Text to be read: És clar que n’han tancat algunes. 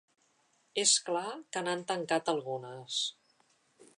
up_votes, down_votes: 2, 0